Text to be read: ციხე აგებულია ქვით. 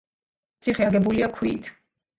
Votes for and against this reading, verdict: 2, 0, accepted